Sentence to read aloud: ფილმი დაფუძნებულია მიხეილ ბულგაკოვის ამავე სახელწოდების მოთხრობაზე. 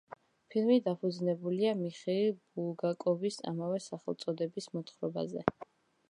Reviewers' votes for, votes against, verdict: 2, 0, accepted